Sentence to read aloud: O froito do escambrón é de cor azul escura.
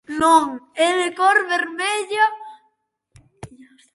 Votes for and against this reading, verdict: 0, 2, rejected